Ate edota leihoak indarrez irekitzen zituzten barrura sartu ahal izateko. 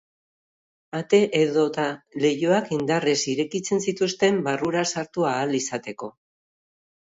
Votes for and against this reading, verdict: 2, 0, accepted